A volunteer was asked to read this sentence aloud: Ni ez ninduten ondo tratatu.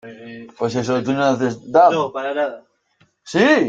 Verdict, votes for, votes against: rejected, 0, 2